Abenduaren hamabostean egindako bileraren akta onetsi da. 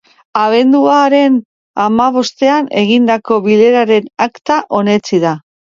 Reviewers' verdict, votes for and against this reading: accepted, 3, 0